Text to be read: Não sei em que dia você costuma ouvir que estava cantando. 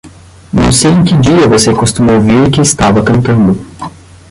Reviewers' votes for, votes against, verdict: 0, 10, rejected